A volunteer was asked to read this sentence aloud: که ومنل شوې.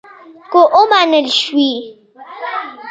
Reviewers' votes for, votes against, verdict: 1, 2, rejected